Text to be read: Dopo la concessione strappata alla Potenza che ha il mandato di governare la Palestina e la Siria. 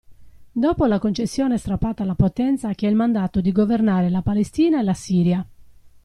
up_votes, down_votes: 2, 0